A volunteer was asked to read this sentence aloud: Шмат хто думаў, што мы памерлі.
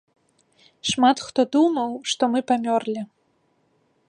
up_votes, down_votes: 0, 2